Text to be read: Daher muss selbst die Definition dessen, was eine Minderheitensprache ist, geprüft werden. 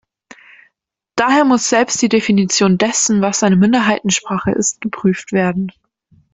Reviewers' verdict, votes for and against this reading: accepted, 2, 0